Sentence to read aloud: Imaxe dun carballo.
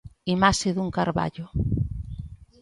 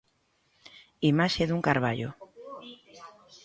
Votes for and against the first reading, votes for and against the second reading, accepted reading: 2, 0, 1, 2, first